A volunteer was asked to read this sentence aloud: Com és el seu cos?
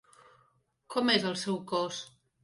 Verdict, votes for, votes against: accepted, 3, 0